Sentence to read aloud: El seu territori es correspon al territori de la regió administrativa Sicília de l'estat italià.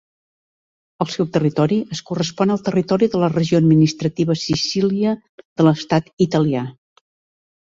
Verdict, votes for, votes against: accepted, 2, 0